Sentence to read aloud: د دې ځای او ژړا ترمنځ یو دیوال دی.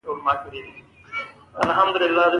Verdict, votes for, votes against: accepted, 2, 1